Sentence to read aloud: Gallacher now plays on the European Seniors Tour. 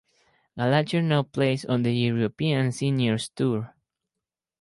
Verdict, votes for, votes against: rejected, 2, 2